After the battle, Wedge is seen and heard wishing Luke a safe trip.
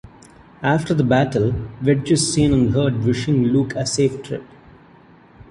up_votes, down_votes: 2, 0